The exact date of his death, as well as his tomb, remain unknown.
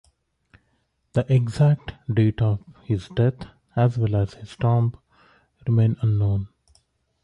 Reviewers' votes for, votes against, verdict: 0, 2, rejected